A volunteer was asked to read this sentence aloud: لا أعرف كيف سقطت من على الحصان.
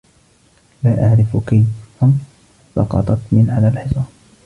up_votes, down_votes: 0, 2